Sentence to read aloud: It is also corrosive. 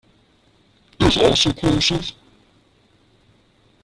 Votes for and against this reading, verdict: 0, 2, rejected